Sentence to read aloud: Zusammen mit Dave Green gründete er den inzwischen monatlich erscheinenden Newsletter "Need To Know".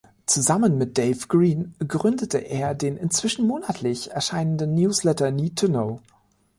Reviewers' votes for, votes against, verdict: 2, 0, accepted